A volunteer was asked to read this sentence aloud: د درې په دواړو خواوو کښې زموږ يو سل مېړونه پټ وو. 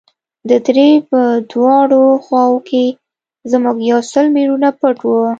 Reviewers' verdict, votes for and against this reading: accepted, 2, 1